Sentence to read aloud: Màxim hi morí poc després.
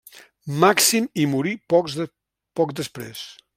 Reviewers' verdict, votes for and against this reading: rejected, 0, 2